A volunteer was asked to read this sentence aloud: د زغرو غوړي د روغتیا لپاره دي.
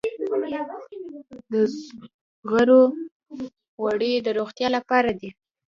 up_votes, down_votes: 1, 2